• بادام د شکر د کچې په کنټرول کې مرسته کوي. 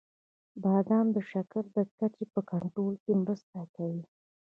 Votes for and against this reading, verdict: 1, 2, rejected